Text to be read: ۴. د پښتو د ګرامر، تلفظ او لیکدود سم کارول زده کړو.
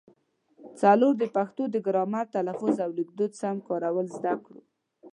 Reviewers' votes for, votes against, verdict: 0, 2, rejected